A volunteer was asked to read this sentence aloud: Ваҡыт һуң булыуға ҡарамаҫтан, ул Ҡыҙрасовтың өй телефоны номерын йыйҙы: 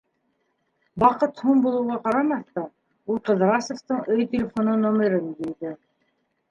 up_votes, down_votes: 0, 2